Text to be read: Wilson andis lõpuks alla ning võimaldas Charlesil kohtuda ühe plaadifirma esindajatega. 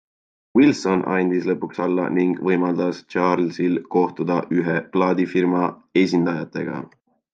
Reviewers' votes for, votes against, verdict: 2, 0, accepted